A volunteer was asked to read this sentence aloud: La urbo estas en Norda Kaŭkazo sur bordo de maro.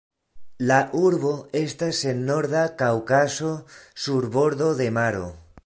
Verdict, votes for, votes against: rejected, 1, 2